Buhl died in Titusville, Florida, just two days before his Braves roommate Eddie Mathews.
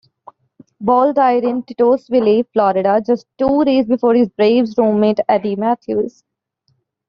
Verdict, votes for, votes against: rejected, 1, 2